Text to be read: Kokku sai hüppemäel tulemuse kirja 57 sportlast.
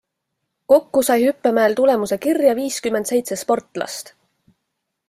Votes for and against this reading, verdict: 0, 2, rejected